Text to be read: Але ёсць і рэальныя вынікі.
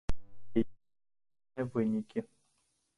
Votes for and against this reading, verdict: 0, 3, rejected